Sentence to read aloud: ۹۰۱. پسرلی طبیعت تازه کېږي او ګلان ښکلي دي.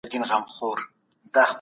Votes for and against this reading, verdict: 0, 2, rejected